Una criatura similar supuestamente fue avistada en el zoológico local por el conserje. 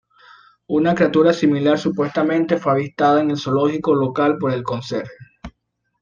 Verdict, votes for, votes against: accepted, 2, 0